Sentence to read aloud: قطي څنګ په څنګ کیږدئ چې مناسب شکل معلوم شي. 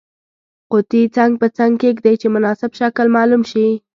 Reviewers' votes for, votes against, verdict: 2, 1, accepted